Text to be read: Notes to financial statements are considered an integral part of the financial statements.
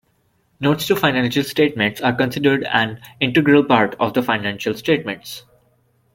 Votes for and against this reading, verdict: 2, 0, accepted